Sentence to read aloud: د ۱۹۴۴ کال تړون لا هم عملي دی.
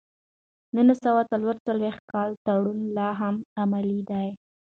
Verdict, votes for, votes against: rejected, 0, 2